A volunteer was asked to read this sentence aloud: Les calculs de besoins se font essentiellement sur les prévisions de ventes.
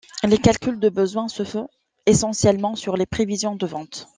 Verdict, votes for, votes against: accepted, 2, 0